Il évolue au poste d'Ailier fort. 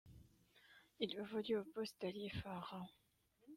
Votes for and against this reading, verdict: 0, 2, rejected